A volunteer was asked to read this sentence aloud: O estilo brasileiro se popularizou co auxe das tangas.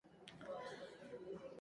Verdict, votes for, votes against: rejected, 0, 4